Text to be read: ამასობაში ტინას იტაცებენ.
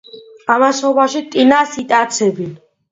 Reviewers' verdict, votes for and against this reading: accepted, 2, 0